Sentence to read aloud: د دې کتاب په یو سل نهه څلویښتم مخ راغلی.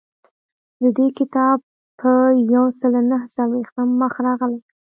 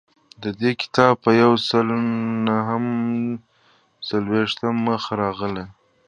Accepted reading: second